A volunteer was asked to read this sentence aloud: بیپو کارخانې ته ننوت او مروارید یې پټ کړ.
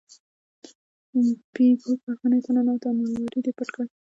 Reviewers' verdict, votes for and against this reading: rejected, 0, 2